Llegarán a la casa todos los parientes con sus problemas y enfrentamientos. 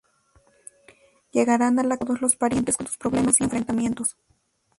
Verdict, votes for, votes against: rejected, 0, 2